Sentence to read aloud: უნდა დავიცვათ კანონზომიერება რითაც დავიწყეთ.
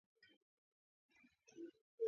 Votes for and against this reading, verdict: 1, 2, rejected